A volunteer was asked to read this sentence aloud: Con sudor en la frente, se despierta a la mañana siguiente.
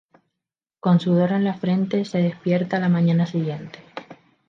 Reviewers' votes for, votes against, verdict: 2, 0, accepted